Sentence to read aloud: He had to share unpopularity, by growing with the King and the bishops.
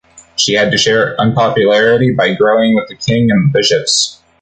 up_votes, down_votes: 2, 1